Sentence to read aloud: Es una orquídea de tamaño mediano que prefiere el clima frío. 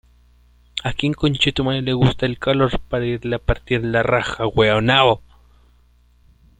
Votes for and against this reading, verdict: 0, 2, rejected